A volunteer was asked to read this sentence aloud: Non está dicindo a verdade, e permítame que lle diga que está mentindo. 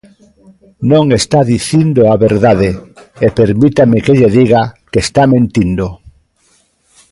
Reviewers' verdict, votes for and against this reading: rejected, 0, 2